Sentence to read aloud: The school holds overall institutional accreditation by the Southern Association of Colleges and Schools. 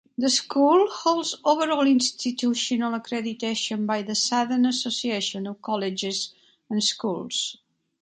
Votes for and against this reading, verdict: 2, 1, accepted